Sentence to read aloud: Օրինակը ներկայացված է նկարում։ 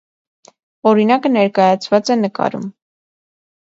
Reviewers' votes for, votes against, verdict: 2, 0, accepted